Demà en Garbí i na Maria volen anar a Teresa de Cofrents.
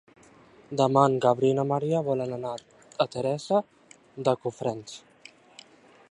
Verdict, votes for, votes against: rejected, 1, 2